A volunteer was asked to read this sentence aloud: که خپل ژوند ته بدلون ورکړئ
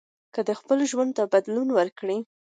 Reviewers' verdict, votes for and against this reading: accepted, 2, 0